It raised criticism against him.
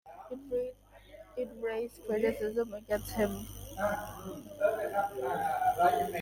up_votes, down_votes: 0, 2